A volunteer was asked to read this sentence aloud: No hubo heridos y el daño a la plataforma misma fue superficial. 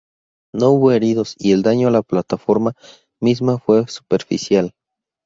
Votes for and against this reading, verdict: 2, 0, accepted